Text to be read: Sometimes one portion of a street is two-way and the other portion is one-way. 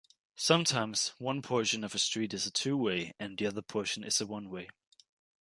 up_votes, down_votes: 1, 2